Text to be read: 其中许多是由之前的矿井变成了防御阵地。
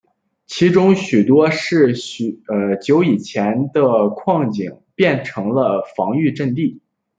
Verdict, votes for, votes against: rejected, 0, 2